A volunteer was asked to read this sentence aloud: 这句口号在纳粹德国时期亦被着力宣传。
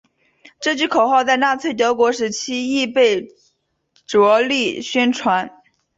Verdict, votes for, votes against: accepted, 3, 1